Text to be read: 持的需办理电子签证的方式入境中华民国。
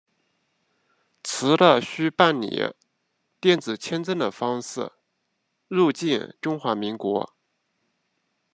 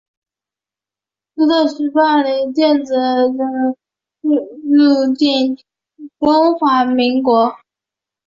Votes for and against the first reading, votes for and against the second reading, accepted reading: 2, 0, 1, 2, first